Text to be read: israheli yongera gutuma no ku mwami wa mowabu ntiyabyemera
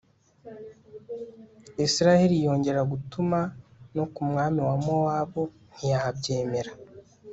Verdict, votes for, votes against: accepted, 2, 0